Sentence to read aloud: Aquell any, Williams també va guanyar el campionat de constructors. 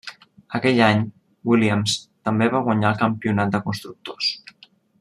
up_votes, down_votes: 1, 2